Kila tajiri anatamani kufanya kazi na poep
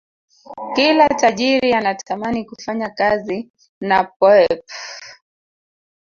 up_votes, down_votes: 1, 2